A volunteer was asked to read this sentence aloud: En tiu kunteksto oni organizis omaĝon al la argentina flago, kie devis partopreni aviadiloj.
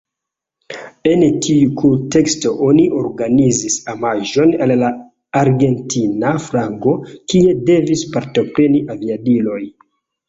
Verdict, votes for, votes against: rejected, 1, 2